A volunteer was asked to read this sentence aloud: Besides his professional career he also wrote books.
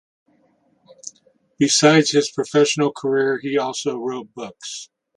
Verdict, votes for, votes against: accepted, 2, 0